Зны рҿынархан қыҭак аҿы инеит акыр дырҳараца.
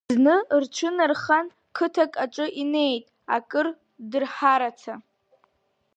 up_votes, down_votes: 0, 2